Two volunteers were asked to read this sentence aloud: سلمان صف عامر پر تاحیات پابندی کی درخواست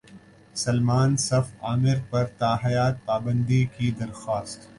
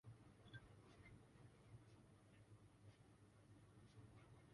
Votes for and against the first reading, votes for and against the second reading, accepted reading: 2, 0, 0, 2, first